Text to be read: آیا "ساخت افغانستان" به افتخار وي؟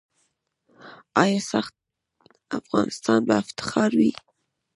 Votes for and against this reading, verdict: 0, 2, rejected